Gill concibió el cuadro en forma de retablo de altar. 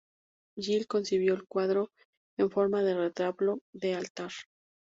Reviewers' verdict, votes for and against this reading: rejected, 0, 2